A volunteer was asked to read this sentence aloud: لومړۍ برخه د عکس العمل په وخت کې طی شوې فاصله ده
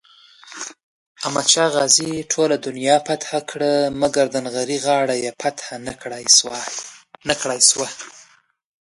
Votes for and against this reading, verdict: 1, 2, rejected